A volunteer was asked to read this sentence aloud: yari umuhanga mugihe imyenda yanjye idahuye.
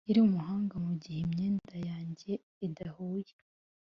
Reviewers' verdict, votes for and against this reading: accepted, 2, 0